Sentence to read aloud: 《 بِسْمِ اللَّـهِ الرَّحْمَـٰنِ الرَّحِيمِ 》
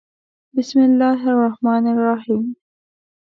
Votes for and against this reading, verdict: 2, 0, accepted